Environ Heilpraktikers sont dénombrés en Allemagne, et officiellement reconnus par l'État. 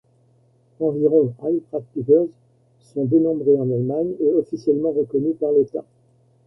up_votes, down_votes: 1, 2